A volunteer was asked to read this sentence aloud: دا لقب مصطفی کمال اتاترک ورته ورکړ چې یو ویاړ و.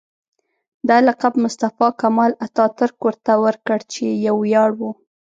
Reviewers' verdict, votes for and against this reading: accepted, 3, 0